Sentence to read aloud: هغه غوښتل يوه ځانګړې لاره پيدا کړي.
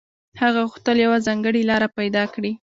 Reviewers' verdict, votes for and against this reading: accepted, 2, 1